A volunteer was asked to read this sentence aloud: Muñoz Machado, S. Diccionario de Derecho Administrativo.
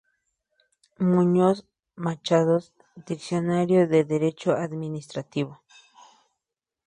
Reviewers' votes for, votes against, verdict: 2, 0, accepted